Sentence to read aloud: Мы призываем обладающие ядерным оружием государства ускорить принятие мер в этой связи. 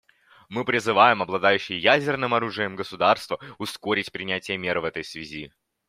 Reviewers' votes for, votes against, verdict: 2, 0, accepted